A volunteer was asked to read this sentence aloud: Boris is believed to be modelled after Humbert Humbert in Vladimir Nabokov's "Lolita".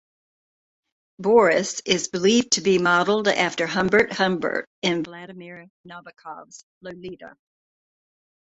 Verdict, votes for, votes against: rejected, 1, 2